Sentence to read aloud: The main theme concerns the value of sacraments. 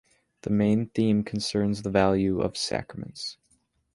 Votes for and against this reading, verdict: 2, 0, accepted